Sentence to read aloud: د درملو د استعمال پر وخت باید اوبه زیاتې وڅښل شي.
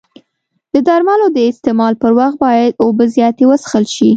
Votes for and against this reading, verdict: 2, 0, accepted